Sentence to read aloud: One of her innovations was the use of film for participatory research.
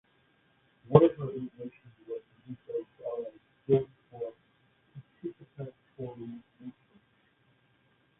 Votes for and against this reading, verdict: 0, 2, rejected